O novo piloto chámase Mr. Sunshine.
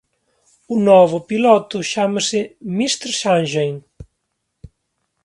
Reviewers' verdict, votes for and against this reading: rejected, 0, 2